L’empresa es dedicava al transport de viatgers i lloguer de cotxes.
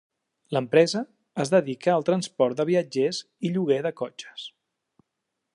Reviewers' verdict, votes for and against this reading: rejected, 1, 2